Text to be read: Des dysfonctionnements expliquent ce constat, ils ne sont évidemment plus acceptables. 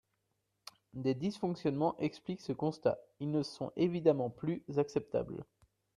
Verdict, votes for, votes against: accepted, 2, 1